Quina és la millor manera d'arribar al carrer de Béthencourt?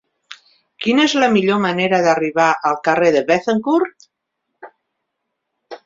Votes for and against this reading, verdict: 3, 0, accepted